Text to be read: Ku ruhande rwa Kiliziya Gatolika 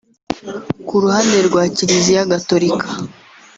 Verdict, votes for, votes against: accepted, 3, 0